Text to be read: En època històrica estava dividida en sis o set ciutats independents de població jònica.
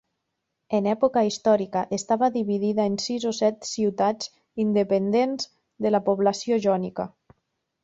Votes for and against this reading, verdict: 1, 2, rejected